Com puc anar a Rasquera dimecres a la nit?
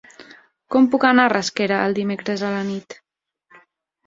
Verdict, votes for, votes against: rejected, 0, 2